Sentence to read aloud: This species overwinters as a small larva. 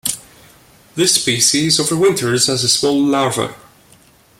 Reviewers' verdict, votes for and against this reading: accepted, 2, 0